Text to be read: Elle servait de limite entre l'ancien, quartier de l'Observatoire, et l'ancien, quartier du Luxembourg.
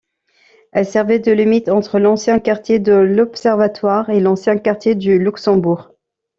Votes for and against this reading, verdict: 2, 0, accepted